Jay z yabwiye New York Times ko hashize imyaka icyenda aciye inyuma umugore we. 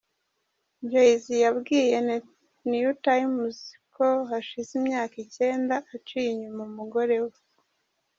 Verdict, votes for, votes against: rejected, 1, 2